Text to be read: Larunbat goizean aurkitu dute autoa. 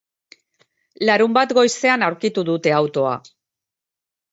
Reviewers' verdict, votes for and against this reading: accepted, 2, 0